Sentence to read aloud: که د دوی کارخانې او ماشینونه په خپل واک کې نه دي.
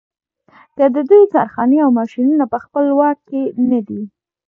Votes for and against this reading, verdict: 2, 0, accepted